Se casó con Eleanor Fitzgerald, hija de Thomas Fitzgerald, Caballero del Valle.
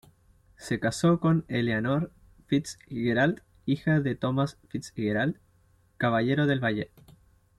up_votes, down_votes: 2, 0